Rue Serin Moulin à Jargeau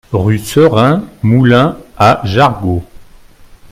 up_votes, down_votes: 1, 2